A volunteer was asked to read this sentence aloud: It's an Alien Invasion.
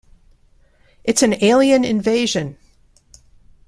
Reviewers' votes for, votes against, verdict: 2, 0, accepted